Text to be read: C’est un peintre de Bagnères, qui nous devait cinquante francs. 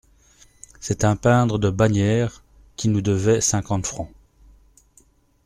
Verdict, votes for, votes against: rejected, 0, 2